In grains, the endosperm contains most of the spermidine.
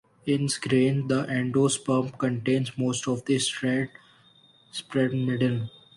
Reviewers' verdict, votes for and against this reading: rejected, 1, 2